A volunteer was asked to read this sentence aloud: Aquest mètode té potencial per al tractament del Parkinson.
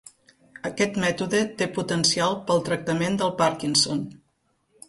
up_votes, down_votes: 1, 2